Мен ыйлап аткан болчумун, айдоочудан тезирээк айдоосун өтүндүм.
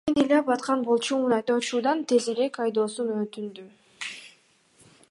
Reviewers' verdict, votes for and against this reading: accepted, 2, 0